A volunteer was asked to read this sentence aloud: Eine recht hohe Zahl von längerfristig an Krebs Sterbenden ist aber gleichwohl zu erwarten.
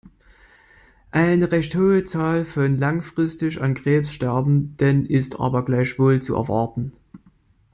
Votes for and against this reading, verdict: 0, 2, rejected